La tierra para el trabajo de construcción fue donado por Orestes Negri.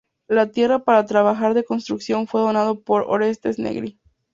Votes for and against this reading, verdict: 0, 2, rejected